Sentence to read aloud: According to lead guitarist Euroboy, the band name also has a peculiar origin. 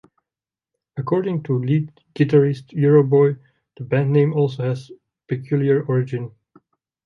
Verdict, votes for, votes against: rejected, 0, 2